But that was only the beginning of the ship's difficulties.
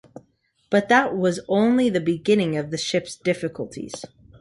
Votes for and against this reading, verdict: 2, 0, accepted